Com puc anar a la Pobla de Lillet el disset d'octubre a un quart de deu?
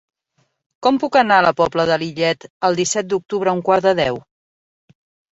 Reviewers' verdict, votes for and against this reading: accepted, 3, 1